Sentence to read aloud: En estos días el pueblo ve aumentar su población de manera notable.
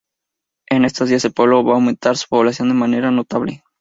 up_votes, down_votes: 2, 0